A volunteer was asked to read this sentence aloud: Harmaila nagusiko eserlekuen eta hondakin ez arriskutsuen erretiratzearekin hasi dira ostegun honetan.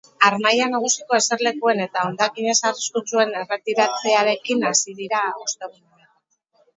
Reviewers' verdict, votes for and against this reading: rejected, 0, 4